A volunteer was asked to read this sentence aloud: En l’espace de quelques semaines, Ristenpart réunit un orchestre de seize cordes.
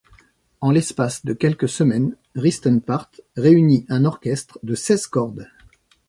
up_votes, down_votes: 2, 0